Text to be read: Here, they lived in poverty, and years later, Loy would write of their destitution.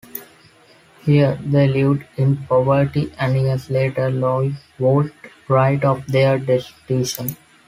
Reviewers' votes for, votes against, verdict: 2, 1, accepted